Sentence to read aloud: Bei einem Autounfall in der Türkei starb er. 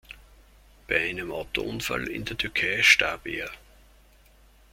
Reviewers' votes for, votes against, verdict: 0, 2, rejected